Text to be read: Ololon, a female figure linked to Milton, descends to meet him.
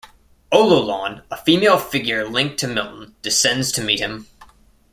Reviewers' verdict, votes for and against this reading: accepted, 2, 0